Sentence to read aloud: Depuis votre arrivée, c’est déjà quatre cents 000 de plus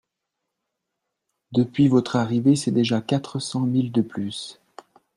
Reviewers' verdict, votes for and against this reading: rejected, 0, 2